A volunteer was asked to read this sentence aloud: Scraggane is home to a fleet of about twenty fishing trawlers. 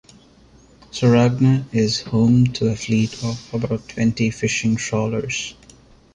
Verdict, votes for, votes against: rejected, 0, 2